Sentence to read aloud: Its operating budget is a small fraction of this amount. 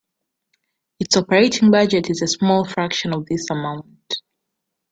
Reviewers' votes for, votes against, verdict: 2, 0, accepted